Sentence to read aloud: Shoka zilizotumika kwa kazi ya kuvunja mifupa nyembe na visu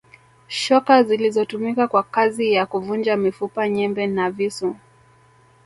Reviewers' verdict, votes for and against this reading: accepted, 2, 1